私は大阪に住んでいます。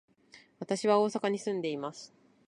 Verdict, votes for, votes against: accepted, 2, 0